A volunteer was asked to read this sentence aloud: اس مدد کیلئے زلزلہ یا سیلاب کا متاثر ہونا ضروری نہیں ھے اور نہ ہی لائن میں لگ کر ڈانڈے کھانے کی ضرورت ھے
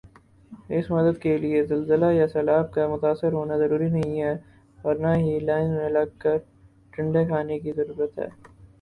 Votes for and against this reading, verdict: 4, 0, accepted